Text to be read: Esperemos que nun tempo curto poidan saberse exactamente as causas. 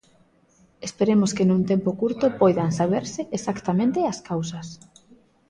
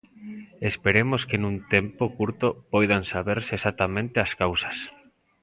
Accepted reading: second